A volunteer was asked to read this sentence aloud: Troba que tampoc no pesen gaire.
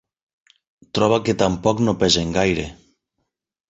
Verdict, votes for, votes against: accepted, 14, 0